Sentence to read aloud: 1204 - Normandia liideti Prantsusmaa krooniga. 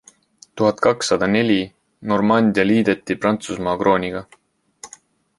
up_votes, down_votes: 0, 2